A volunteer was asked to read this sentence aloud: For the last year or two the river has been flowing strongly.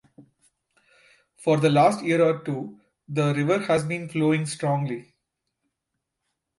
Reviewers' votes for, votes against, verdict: 2, 1, accepted